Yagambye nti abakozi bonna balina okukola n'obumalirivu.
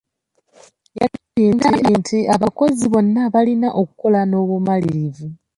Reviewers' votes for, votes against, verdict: 0, 2, rejected